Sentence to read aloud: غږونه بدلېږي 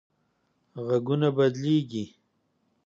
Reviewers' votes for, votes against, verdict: 2, 0, accepted